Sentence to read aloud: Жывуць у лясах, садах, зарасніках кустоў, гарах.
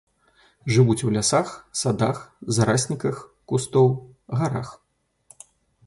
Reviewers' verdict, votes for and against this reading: rejected, 0, 2